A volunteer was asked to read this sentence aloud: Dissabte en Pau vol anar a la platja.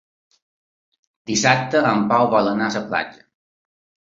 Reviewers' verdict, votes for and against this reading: rejected, 1, 2